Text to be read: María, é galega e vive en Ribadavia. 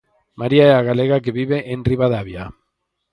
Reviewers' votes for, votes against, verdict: 2, 4, rejected